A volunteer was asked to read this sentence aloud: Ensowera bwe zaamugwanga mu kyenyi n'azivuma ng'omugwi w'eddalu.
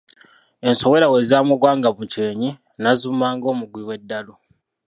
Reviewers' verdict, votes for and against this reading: rejected, 1, 2